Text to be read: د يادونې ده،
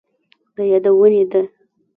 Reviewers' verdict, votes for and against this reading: accepted, 2, 0